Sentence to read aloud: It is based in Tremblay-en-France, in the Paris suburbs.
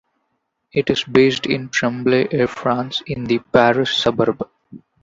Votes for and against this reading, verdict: 0, 2, rejected